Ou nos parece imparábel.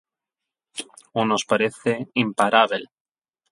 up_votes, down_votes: 8, 0